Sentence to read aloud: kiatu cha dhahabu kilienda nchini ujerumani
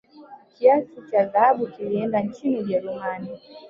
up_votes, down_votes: 2, 1